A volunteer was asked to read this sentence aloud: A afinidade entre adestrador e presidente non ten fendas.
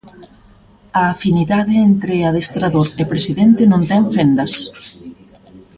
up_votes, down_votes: 0, 2